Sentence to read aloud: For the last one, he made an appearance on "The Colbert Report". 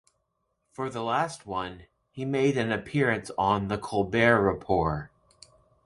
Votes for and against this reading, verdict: 1, 2, rejected